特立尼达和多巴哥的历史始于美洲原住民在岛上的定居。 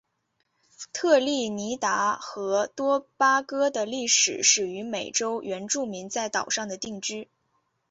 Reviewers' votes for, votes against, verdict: 2, 0, accepted